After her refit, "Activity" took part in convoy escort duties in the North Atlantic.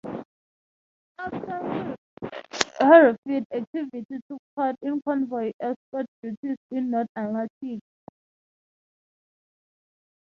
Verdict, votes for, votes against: rejected, 0, 3